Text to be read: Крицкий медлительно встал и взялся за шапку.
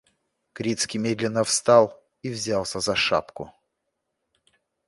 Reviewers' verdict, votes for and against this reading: rejected, 1, 2